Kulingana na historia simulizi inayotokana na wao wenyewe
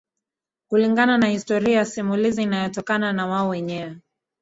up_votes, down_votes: 1, 2